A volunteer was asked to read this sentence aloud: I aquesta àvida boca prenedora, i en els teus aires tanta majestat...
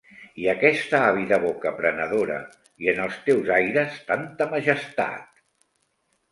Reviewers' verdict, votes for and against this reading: accepted, 2, 0